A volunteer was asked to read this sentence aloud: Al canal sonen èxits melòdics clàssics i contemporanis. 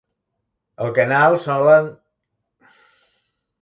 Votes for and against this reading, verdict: 0, 2, rejected